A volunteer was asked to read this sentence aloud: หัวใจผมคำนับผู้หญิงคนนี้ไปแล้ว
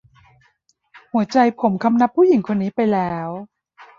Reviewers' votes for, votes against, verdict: 2, 1, accepted